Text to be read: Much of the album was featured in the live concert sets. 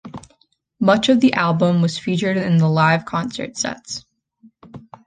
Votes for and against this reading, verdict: 2, 0, accepted